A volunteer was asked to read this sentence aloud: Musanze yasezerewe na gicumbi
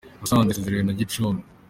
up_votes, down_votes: 2, 0